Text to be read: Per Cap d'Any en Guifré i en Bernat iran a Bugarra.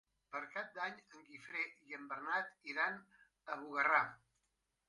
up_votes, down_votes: 0, 2